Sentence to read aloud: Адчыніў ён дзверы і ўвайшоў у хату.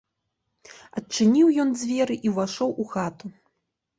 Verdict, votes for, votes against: accepted, 2, 1